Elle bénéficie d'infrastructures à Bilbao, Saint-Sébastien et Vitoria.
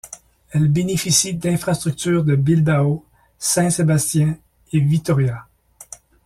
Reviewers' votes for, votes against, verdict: 0, 2, rejected